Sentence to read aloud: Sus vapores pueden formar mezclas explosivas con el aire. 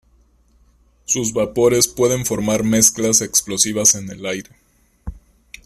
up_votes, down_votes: 0, 2